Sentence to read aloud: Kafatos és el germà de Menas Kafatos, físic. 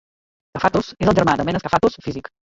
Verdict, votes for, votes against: rejected, 1, 2